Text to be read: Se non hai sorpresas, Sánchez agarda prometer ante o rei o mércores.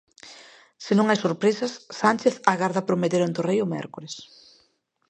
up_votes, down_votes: 2, 0